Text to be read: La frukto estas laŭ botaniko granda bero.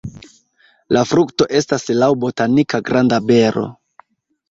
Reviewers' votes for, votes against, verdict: 2, 1, accepted